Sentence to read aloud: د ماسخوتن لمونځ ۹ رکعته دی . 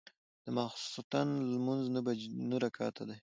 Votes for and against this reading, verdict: 0, 2, rejected